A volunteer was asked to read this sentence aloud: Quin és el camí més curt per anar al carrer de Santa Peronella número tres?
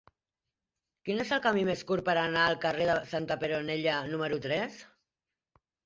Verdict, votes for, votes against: rejected, 1, 2